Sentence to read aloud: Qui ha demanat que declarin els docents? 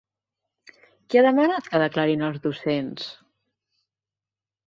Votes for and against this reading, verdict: 2, 1, accepted